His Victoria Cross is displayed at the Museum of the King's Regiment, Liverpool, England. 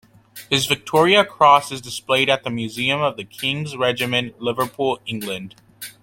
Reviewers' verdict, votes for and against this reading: accepted, 2, 0